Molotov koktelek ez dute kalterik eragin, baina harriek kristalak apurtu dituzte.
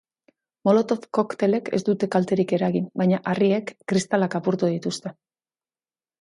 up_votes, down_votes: 4, 0